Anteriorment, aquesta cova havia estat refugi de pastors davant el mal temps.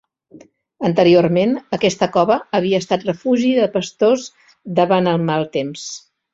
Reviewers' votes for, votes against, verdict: 2, 0, accepted